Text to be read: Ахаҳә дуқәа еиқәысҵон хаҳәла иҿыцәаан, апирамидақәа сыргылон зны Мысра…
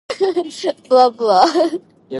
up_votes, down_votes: 1, 2